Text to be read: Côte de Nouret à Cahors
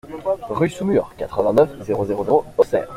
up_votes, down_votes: 0, 3